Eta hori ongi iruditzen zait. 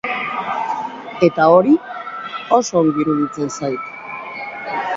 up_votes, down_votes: 0, 3